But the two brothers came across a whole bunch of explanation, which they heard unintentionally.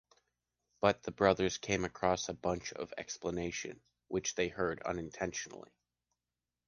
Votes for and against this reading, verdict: 1, 2, rejected